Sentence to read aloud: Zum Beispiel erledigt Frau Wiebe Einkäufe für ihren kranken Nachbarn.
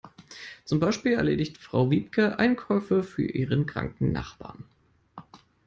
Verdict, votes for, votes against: rejected, 1, 2